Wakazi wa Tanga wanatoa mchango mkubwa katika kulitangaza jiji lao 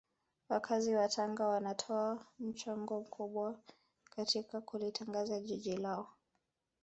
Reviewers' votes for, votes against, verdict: 1, 2, rejected